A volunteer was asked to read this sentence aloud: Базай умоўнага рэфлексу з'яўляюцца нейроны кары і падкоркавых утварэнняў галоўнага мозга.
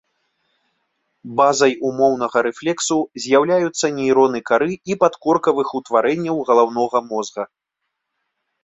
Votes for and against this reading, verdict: 2, 1, accepted